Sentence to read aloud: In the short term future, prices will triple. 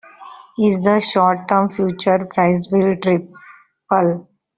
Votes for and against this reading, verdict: 0, 2, rejected